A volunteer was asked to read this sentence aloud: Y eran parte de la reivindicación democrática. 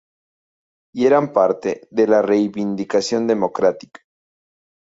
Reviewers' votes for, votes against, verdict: 0, 2, rejected